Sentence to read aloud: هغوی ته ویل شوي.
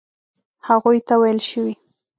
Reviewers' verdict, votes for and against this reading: accepted, 2, 0